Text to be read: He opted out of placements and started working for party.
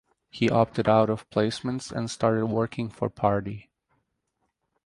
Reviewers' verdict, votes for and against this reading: rejected, 2, 2